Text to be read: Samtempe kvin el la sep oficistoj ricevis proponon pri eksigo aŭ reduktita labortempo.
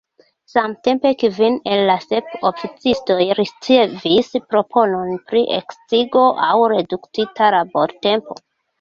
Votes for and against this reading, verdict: 0, 2, rejected